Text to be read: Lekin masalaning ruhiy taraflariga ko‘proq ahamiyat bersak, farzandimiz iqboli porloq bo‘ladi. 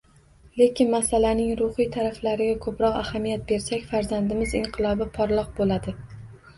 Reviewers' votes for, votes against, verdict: 0, 2, rejected